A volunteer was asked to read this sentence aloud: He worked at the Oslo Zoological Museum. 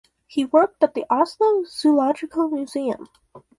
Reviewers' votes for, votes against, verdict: 2, 0, accepted